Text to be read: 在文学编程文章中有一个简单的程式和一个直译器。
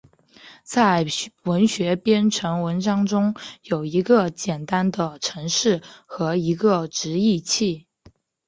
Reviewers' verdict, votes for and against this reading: accepted, 3, 0